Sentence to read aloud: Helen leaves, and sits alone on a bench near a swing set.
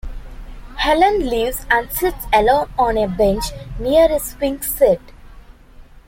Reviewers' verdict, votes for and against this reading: accepted, 2, 0